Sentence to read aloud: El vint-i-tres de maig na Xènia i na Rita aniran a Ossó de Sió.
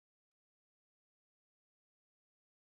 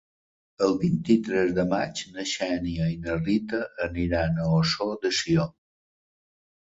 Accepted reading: second